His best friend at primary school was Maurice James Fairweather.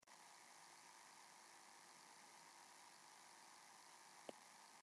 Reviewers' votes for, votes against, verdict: 0, 2, rejected